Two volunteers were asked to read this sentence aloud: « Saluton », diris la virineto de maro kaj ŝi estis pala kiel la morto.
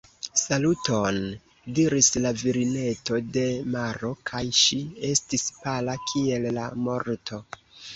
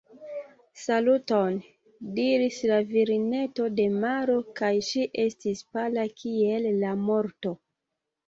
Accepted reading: second